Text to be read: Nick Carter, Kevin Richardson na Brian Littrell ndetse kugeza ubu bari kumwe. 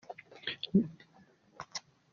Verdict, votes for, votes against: rejected, 0, 2